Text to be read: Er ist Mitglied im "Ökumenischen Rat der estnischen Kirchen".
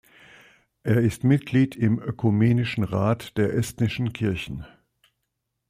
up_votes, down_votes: 2, 0